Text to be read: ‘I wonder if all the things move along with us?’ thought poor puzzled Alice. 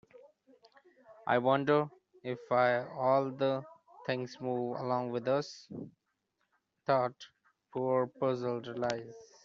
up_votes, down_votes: 1, 2